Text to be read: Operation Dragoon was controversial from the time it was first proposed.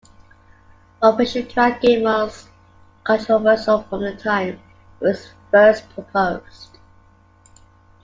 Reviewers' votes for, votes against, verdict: 0, 2, rejected